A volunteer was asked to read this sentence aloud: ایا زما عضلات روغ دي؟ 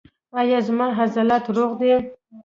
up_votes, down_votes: 2, 0